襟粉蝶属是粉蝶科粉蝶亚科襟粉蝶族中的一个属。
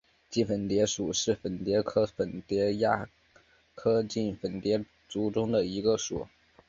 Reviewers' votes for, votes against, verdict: 2, 1, accepted